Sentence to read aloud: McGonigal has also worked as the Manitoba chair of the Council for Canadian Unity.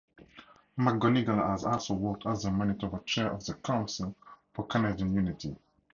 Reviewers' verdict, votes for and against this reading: rejected, 2, 2